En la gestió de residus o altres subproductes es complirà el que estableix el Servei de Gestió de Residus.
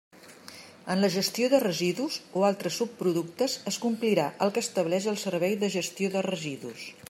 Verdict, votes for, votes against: accepted, 2, 0